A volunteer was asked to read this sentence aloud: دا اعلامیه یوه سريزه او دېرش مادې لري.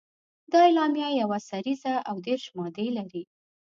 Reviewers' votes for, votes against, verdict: 2, 0, accepted